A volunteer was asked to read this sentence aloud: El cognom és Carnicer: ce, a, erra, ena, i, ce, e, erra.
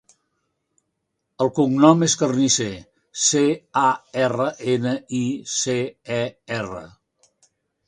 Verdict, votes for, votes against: accepted, 3, 0